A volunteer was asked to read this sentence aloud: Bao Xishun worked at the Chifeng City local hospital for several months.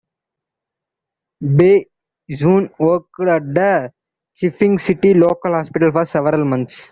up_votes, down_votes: 1, 2